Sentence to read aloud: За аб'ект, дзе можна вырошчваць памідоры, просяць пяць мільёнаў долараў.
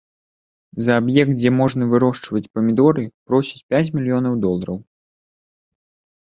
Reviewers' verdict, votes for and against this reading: accepted, 3, 0